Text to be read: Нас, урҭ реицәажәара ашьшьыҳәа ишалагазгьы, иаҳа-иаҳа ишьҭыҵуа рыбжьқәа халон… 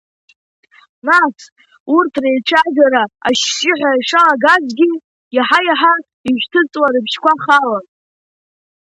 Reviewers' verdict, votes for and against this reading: accepted, 2, 0